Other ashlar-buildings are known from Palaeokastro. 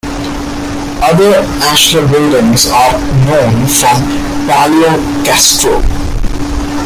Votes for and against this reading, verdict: 2, 0, accepted